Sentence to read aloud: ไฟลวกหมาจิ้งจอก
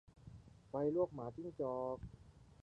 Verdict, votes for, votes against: rejected, 1, 2